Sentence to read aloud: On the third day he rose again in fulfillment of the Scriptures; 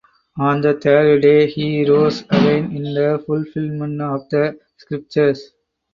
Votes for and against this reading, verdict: 2, 4, rejected